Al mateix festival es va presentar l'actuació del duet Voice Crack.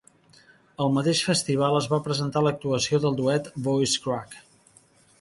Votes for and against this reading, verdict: 2, 0, accepted